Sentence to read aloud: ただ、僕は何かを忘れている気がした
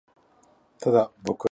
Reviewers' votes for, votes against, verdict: 0, 2, rejected